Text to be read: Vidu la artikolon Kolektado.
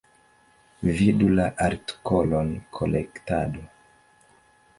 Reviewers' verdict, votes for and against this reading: accepted, 2, 1